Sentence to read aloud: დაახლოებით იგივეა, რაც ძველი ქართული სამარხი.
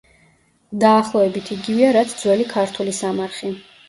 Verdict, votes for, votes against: rejected, 1, 2